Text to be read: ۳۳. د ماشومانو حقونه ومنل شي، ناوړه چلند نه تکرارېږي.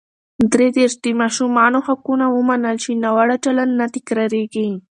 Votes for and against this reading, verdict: 0, 2, rejected